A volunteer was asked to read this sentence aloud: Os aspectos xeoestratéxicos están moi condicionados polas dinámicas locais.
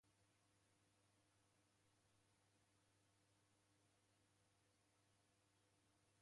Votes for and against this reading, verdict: 0, 2, rejected